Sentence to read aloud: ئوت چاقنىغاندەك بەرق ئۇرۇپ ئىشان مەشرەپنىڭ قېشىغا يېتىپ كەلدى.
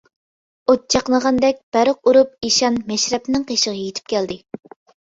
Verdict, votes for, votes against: accepted, 2, 0